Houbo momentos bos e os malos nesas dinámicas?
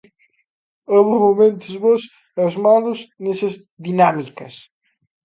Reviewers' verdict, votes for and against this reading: rejected, 1, 2